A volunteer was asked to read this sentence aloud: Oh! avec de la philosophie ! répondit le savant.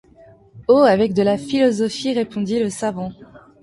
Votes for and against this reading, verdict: 2, 1, accepted